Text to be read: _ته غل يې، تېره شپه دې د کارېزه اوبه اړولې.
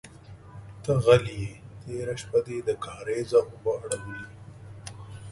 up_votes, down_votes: 2, 0